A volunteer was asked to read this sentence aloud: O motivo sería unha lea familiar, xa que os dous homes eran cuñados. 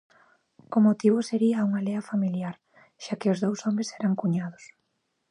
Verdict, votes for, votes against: accepted, 2, 1